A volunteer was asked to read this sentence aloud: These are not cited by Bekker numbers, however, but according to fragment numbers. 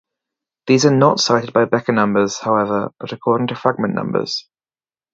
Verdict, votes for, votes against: accepted, 4, 0